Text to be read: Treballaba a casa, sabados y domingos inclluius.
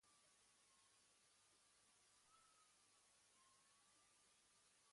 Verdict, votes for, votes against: rejected, 1, 2